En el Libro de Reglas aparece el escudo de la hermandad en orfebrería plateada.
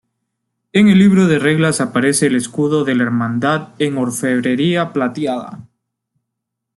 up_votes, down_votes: 2, 0